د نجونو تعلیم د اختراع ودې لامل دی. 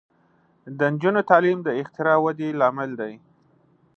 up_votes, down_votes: 2, 1